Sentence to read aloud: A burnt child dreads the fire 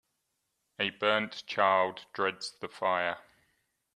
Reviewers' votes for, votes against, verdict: 2, 0, accepted